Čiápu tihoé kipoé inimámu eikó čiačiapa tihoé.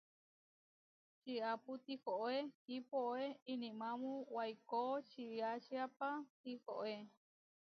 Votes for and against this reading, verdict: 0, 2, rejected